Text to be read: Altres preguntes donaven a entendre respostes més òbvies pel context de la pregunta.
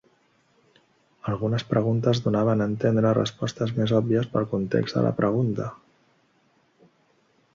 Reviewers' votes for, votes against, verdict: 0, 2, rejected